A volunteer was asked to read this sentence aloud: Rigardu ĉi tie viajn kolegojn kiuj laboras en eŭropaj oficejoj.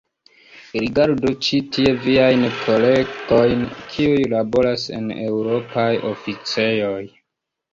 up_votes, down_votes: 2, 0